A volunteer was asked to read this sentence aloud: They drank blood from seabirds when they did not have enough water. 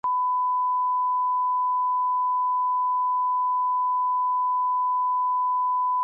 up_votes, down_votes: 0, 4